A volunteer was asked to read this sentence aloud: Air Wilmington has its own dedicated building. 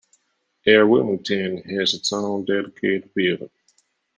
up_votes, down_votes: 3, 1